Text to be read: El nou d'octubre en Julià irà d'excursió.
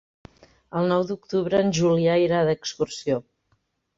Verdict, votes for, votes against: accepted, 3, 0